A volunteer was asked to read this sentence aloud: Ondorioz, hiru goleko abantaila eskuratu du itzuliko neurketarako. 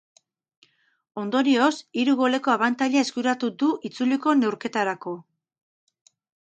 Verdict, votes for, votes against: rejected, 2, 2